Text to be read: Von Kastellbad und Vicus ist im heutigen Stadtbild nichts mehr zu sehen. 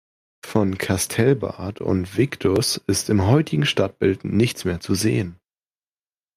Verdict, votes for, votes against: rejected, 0, 2